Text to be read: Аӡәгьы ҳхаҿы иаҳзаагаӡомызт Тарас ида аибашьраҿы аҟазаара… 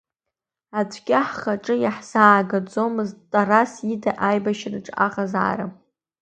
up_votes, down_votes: 2, 0